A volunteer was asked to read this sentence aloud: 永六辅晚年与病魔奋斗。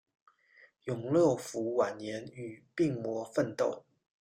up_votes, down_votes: 1, 2